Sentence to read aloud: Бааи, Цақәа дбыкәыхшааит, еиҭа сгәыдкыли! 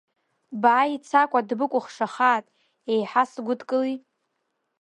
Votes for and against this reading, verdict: 1, 2, rejected